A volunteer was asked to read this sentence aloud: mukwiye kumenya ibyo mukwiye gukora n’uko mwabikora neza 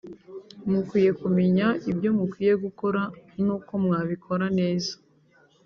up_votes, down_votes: 4, 0